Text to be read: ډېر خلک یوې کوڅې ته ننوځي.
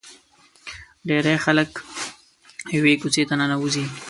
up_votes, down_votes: 1, 2